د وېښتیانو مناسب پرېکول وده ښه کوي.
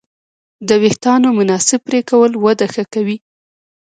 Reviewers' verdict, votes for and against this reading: rejected, 0, 2